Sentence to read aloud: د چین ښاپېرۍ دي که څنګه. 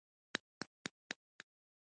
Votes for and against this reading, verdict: 1, 2, rejected